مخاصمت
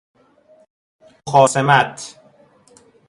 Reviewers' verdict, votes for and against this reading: rejected, 1, 2